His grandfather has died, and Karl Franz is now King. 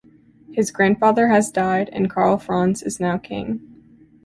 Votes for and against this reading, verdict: 2, 0, accepted